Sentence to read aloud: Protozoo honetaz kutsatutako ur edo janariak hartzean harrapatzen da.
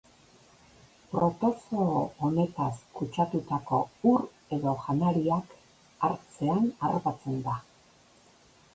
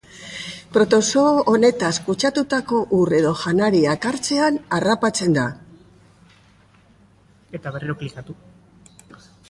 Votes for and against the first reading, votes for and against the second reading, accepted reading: 2, 0, 0, 2, first